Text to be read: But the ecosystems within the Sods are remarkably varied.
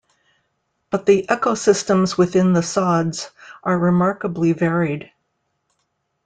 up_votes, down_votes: 1, 2